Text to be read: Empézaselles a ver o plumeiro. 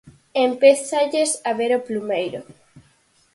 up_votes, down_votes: 0, 4